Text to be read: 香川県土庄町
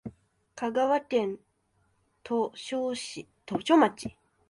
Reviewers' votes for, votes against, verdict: 1, 2, rejected